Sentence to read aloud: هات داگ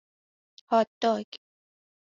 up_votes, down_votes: 2, 0